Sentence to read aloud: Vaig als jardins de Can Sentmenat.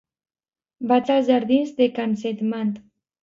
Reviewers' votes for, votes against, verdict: 1, 2, rejected